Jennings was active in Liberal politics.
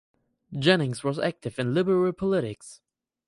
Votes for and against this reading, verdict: 2, 2, rejected